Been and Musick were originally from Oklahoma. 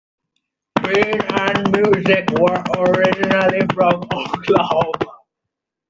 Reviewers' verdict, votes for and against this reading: rejected, 1, 2